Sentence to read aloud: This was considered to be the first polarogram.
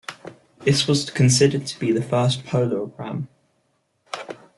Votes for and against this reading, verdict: 1, 2, rejected